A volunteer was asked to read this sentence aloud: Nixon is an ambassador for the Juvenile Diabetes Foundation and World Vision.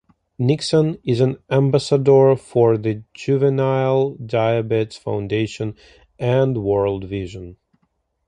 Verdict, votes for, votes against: accepted, 2, 0